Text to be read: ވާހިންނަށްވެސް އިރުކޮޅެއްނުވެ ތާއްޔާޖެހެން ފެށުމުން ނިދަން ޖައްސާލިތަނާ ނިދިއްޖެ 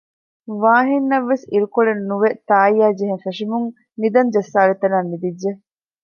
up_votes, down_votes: 2, 0